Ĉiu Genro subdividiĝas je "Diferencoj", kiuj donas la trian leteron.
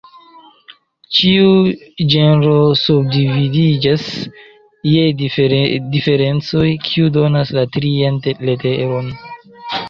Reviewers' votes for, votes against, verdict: 0, 2, rejected